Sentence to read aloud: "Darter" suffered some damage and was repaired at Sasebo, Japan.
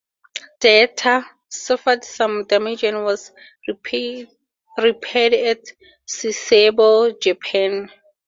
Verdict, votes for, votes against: rejected, 0, 2